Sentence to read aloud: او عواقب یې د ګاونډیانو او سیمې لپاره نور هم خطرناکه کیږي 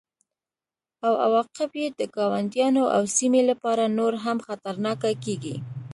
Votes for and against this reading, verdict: 2, 0, accepted